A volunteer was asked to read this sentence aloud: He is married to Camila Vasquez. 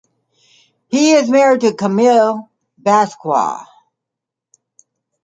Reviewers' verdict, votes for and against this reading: rejected, 1, 2